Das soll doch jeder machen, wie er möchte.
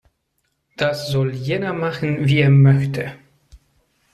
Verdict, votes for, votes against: rejected, 0, 2